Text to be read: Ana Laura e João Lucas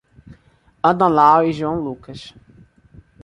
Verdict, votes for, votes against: rejected, 1, 2